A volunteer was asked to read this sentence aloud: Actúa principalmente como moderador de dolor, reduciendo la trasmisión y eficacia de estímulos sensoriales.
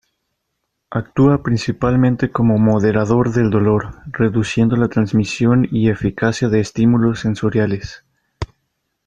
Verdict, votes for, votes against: rejected, 1, 2